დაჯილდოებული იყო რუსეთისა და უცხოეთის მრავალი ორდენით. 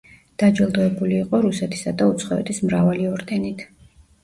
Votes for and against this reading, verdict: 2, 0, accepted